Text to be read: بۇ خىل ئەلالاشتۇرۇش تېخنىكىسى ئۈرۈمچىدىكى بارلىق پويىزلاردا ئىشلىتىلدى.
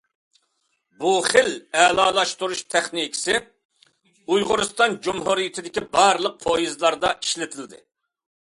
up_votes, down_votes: 0, 2